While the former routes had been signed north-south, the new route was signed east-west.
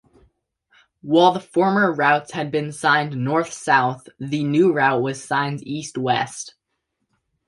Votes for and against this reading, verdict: 2, 0, accepted